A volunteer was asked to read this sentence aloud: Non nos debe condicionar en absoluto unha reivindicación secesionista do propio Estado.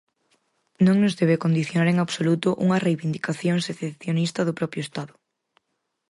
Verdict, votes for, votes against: rejected, 0, 4